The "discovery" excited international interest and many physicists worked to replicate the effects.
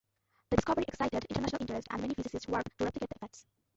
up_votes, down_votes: 0, 2